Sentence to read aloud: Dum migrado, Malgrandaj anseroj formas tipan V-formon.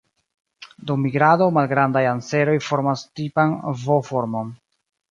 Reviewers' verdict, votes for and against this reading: accepted, 2, 1